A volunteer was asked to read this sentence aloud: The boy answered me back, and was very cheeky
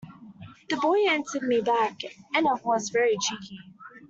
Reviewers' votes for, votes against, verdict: 0, 2, rejected